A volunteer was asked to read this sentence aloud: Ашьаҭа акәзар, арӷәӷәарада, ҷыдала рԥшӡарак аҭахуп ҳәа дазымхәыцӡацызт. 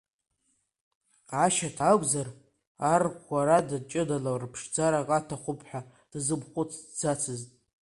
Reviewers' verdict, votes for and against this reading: rejected, 0, 2